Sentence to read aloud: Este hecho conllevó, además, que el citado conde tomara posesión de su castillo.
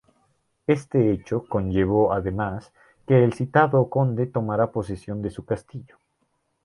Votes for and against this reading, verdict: 4, 0, accepted